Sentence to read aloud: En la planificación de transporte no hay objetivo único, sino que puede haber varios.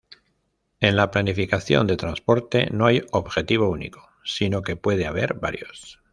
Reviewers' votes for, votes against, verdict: 2, 0, accepted